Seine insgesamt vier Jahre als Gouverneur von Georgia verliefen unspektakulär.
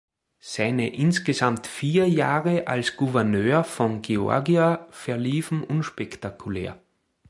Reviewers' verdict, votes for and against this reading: accepted, 3, 2